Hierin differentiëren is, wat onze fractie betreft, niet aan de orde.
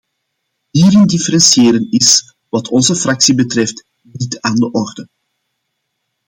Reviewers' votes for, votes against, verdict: 2, 1, accepted